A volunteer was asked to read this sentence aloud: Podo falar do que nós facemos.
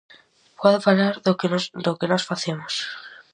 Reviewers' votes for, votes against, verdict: 0, 4, rejected